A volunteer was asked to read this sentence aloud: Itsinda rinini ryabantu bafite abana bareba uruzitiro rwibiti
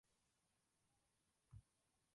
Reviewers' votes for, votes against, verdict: 0, 2, rejected